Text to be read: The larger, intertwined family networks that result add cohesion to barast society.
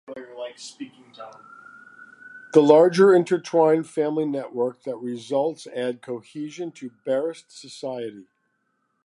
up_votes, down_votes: 2, 1